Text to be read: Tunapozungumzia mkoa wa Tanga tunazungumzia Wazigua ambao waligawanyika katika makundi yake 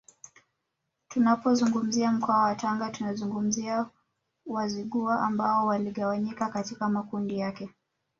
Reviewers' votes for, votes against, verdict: 1, 2, rejected